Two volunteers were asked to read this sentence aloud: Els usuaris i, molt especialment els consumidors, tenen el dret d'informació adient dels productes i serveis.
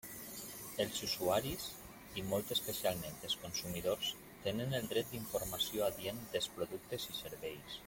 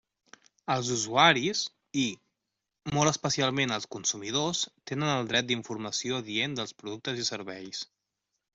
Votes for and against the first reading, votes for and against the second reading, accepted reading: 0, 2, 3, 0, second